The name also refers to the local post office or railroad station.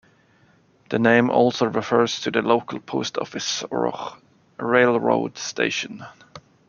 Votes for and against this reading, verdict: 2, 0, accepted